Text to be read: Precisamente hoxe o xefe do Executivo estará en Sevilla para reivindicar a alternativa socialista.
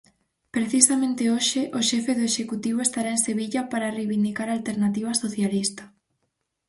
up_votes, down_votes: 4, 0